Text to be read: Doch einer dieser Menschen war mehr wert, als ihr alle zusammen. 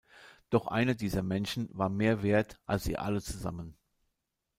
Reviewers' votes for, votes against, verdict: 1, 2, rejected